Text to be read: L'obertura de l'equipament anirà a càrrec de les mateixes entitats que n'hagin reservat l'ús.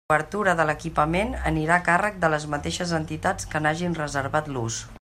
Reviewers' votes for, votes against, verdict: 1, 2, rejected